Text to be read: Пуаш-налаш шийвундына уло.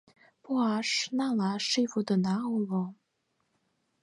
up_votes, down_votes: 4, 0